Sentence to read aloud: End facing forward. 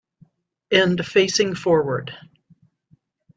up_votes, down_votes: 2, 1